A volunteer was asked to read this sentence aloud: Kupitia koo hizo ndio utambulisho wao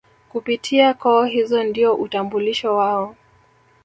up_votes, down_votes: 0, 2